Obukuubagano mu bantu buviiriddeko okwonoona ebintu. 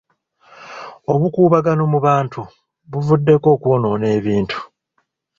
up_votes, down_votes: 0, 2